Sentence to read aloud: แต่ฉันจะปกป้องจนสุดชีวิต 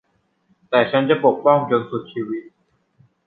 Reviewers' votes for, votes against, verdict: 2, 0, accepted